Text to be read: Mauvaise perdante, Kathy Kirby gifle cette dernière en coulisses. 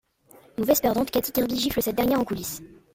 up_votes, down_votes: 1, 2